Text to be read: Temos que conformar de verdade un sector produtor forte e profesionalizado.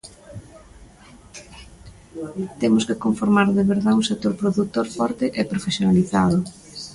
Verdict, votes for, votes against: rejected, 1, 2